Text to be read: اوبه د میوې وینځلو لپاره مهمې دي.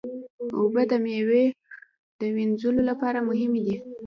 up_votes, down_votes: 1, 2